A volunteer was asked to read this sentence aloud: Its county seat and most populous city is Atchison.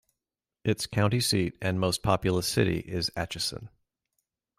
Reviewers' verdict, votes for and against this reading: accepted, 2, 0